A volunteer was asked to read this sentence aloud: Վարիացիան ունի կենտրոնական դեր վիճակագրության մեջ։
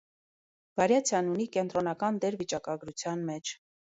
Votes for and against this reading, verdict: 2, 0, accepted